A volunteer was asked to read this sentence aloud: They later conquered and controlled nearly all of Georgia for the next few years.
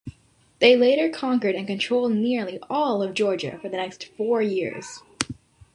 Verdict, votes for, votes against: rejected, 0, 2